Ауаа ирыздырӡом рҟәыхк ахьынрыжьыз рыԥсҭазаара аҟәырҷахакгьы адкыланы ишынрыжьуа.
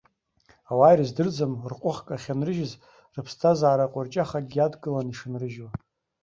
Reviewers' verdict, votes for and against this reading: accepted, 2, 0